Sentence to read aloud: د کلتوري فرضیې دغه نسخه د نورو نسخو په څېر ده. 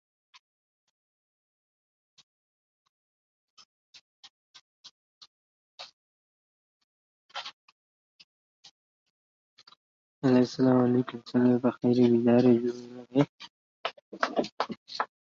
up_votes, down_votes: 1, 2